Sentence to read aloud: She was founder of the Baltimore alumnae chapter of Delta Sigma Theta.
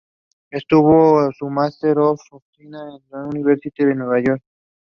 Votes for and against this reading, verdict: 1, 2, rejected